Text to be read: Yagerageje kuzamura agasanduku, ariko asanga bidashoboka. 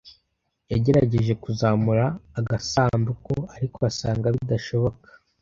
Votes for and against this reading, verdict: 2, 0, accepted